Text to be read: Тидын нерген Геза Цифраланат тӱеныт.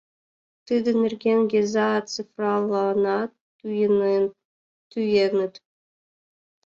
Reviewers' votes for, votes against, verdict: 0, 2, rejected